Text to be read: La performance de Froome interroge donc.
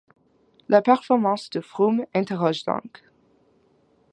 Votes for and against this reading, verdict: 2, 0, accepted